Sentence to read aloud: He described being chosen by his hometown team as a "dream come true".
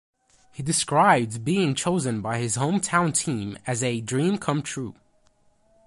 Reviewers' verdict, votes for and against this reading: accepted, 2, 0